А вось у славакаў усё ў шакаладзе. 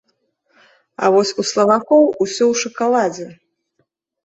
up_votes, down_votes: 0, 2